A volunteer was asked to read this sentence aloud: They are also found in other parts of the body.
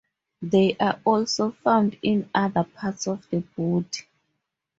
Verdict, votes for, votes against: rejected, 0, 2